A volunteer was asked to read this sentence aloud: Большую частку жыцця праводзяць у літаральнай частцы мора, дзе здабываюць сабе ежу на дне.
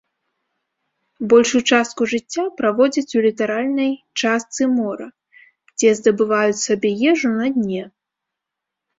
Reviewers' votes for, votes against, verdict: 2, 0, accepted